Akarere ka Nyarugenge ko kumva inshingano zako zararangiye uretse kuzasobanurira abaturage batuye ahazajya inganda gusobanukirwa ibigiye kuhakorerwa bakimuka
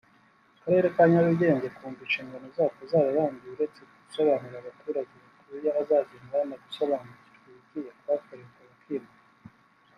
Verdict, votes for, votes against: rejected, 0, 2